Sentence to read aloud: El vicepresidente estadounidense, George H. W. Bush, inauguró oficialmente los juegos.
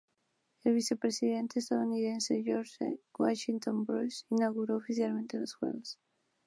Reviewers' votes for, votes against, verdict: 0, 2, rejected